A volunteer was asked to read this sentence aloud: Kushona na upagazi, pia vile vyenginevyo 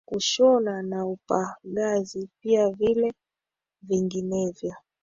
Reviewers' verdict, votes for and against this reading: rejected, 1, 2